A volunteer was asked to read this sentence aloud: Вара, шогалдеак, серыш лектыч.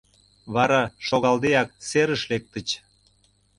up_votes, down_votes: 2, 0